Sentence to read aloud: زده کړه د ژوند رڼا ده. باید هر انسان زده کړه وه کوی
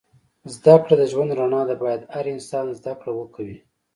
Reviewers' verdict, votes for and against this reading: accepted, 2, 0